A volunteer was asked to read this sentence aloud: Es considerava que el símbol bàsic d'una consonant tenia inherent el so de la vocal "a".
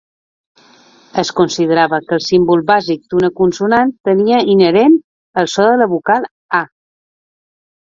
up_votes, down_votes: 2, 0